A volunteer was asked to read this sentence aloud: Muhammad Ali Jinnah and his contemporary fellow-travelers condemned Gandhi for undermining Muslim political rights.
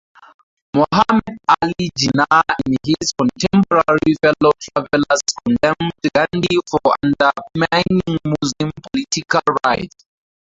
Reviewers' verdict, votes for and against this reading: rejected, 0, 4